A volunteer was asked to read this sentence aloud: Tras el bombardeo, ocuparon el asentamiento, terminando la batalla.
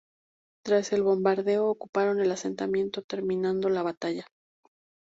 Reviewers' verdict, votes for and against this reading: accepted, 2, 0